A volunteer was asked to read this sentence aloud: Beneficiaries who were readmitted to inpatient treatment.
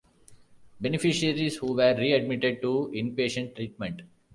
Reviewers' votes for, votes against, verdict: 3, 0, accepted